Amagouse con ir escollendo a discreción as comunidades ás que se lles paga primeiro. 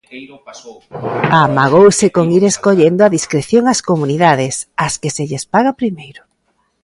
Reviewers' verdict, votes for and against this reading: rejected, 0, 2